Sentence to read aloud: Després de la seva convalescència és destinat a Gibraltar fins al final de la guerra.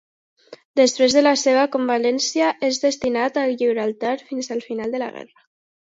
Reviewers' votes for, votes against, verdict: 0, 2, rejected